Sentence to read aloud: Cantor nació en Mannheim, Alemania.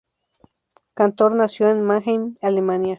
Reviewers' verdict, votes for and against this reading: accepted, 4, 0